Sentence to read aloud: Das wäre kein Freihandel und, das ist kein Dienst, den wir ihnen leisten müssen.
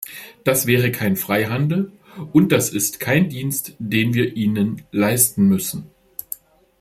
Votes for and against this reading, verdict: 2, 0, accepted